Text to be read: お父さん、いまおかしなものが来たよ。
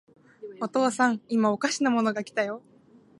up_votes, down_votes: 2, 1